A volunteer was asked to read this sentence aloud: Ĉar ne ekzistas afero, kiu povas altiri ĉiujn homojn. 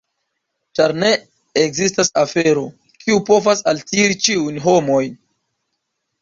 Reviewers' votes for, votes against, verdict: 2, 0, accepted